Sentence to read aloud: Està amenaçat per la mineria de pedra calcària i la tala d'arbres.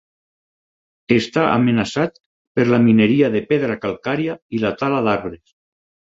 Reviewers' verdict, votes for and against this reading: accepted, 6, 0